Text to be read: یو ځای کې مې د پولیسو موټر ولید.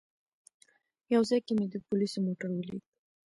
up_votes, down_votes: 0, 2